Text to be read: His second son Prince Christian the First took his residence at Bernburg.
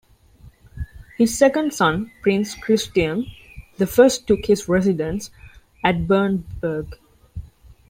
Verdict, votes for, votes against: accepted, 2, 0